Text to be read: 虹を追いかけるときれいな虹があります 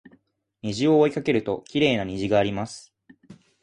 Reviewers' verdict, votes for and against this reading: accepted, 2, 0